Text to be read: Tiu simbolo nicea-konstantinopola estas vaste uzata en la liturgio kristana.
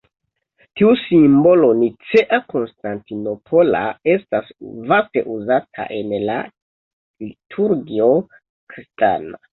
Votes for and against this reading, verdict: 1, 2, rejected